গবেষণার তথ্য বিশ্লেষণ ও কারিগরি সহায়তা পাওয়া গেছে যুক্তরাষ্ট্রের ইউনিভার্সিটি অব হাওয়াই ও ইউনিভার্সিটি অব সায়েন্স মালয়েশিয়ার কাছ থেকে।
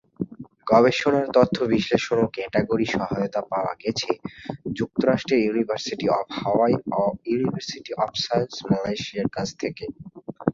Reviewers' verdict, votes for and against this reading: rejected, 1, 5